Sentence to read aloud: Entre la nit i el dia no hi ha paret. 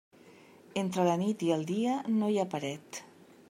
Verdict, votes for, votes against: accepted, 3, 0